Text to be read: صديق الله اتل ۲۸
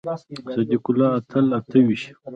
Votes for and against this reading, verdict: 0, 2, rejected